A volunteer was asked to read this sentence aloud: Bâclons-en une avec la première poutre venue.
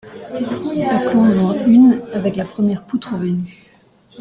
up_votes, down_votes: 2, 1